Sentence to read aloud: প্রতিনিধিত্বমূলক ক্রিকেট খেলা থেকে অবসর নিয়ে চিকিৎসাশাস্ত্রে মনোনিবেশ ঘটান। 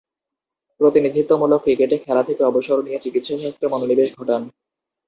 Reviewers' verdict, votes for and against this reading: rejected, 0, 4